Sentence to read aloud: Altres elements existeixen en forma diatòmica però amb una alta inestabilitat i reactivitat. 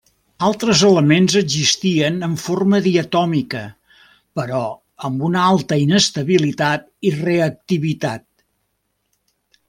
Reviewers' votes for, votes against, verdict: 1, 2, rejected